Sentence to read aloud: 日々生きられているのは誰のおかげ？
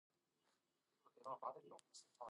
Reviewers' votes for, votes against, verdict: 1, 2, rejected